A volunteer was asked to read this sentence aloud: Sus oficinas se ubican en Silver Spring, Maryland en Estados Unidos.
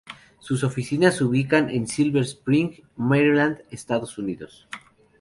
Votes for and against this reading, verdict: 0, 2, rejected